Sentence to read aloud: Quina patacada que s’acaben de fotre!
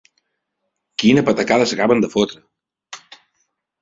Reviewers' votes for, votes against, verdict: 1, 2, rejected